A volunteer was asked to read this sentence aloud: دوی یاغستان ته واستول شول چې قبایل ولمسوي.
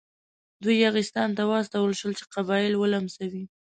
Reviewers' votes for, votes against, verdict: 2, 0, accepted